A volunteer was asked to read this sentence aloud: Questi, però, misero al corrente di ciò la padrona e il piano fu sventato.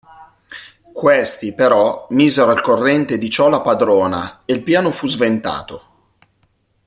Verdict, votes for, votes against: accepted, 2, 0